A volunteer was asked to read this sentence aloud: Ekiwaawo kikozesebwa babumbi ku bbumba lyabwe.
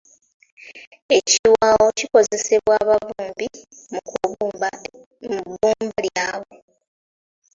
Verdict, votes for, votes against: rejected, 0, 2